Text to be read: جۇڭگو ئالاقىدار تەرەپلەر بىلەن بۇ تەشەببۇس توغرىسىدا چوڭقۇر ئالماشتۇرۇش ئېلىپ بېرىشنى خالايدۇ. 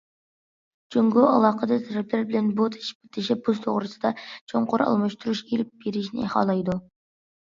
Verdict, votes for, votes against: rejected, 1, 2